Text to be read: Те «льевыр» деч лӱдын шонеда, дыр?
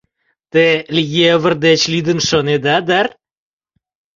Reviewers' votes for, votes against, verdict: 2, 0, accepted